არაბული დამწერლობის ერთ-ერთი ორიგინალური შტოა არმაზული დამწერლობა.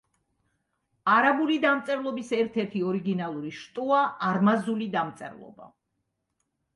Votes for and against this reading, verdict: 3, 0, accepted